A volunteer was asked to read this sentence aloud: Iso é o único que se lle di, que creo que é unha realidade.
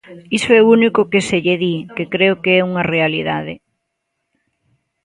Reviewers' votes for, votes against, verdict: 2, 0, accepted